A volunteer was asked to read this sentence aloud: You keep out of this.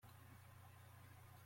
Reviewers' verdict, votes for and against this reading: rejected, 0, 3